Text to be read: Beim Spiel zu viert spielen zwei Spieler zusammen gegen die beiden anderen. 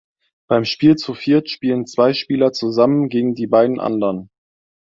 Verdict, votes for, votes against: accepted, 2, 0